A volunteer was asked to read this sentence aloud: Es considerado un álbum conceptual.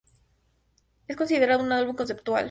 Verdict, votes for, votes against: accepted, 2, 0